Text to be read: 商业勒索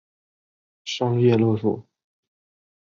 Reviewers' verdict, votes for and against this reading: accepted, 2, 0